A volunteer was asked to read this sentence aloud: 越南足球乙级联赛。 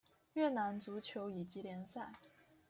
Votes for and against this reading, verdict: 2, 0, accepted